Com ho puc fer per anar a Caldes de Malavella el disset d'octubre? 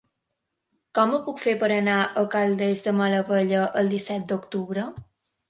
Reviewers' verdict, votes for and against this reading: accepted, 2, 0